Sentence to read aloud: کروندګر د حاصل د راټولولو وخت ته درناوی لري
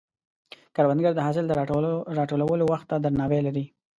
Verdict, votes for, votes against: accepted, 2, 1